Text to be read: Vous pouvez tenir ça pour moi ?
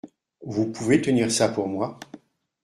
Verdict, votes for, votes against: accepted, 2, 0